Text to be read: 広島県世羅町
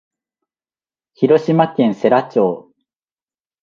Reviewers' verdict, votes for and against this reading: accepted, 6, 1